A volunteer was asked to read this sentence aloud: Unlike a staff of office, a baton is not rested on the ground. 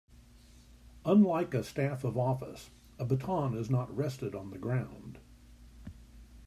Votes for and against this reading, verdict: 2, 0, accepted